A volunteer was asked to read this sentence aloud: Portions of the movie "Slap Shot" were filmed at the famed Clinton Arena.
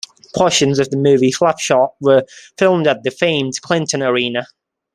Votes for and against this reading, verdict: 2, 0, accepted